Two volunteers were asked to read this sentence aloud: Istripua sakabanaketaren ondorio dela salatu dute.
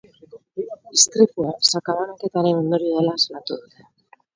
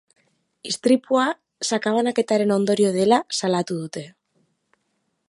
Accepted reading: second